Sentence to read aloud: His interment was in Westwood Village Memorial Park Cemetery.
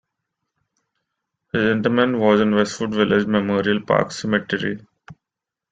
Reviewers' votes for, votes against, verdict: 2, 0, accepted